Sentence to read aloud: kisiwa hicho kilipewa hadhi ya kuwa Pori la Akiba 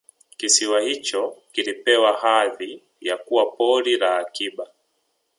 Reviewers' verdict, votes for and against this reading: rejected, 0, 2